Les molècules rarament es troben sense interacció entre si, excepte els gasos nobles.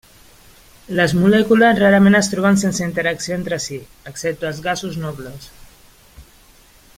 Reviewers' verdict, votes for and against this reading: accepted, 2, 0